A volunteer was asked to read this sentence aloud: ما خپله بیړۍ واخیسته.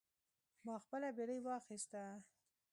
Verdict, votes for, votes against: accepted, 2, 0